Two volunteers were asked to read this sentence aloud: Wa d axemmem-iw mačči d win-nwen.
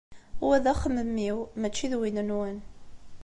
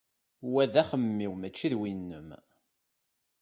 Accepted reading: first